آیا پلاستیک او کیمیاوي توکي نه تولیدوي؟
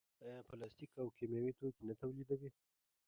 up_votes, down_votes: 2, 0